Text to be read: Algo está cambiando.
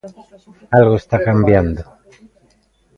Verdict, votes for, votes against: accepted, 2, 1